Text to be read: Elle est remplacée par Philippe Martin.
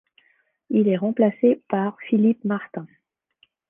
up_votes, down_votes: 1, 2